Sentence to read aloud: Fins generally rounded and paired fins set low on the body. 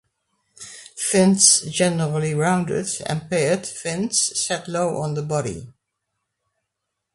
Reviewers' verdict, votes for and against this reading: accepted, 2, 0